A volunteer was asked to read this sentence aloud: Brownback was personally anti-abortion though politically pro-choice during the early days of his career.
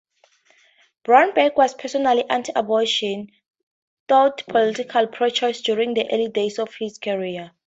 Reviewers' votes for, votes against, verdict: 2, 0, accepted